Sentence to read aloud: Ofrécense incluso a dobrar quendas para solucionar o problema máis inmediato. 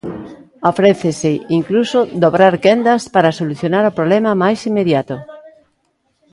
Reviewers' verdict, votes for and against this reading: rejected, 0, 2